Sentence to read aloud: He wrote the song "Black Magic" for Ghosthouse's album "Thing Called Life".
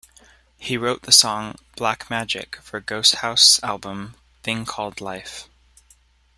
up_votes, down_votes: 2, 0